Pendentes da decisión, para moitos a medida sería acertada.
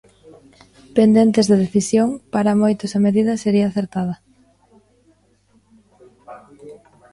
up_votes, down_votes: 1, 2